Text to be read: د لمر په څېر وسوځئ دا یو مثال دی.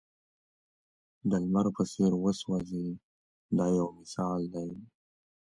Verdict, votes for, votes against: accepted, 2, 0